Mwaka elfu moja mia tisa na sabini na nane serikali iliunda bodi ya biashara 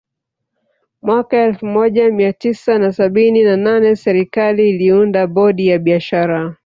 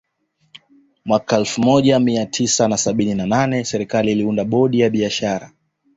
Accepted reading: second